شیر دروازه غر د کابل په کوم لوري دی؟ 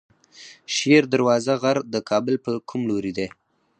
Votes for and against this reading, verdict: 0, 4, rejected